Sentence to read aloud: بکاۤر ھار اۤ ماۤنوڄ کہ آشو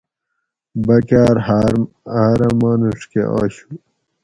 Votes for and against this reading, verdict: 2, 2, rejected